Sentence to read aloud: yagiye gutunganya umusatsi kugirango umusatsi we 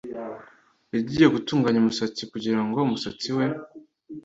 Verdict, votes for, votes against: accepted, 2, 0